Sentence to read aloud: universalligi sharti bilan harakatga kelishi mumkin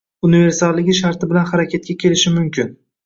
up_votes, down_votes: 1, 2